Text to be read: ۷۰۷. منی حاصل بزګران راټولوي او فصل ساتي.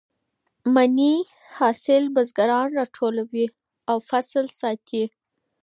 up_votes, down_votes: 0, 2